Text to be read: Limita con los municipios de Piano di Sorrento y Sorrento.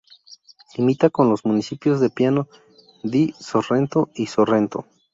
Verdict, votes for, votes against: rejected, 0, 2